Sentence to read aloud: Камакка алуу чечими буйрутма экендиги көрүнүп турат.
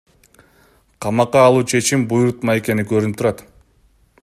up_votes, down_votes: 2, 0